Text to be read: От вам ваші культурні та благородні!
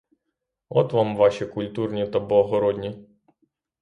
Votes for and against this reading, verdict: 0, 3, rejected